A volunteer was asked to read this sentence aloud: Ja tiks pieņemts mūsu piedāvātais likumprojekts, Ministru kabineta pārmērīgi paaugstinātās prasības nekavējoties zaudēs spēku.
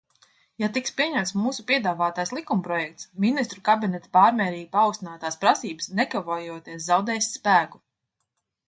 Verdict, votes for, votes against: rejected, 1, 2